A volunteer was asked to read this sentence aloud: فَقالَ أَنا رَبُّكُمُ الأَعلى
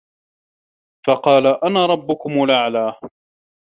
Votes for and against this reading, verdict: 2, 1, accepted